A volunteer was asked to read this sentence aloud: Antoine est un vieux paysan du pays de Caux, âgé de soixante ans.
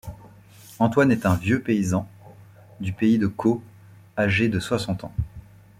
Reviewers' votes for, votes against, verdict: 2, 0, accepted